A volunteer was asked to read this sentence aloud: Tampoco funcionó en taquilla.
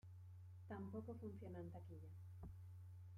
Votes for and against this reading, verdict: 1, 2, rejected